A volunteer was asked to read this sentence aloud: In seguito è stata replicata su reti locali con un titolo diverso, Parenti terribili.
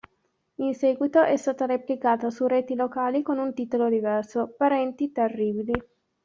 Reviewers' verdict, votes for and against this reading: rejected, 1, 2